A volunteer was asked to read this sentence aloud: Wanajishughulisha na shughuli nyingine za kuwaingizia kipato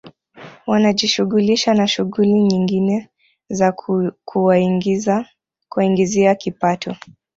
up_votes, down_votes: 3, 2